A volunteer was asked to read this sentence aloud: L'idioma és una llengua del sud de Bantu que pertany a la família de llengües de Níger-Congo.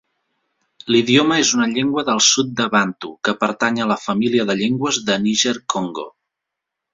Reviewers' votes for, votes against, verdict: 2, 0, accepted